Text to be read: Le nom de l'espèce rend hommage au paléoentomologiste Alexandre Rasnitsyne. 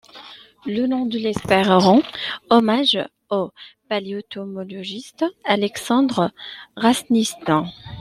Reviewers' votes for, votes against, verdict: 0, 2, rejected